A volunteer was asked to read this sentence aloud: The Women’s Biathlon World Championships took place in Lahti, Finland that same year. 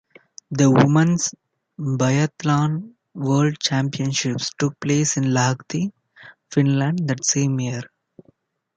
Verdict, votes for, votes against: accepted, 2, 0